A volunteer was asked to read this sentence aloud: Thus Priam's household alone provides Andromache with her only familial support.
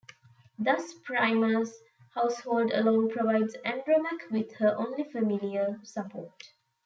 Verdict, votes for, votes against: accepted, 2, 0